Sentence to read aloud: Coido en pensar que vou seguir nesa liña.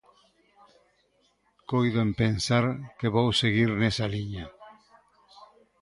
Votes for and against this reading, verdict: 1, 2, rejected